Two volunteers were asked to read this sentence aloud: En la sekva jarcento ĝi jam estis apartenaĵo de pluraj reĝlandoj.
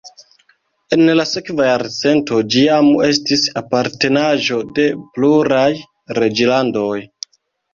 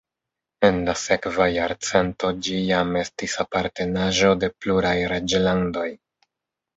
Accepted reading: second